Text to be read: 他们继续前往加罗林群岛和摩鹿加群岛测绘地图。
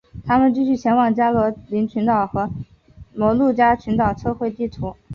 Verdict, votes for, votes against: accepted, 2, 1